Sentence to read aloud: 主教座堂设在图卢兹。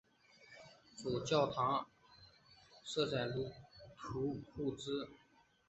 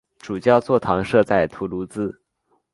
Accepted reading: second